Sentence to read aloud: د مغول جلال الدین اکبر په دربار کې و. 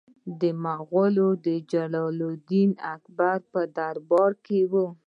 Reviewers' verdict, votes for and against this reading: rejected, 1, 2